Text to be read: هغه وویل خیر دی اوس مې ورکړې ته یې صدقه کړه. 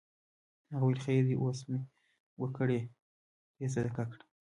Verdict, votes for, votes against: rejected, 1, 2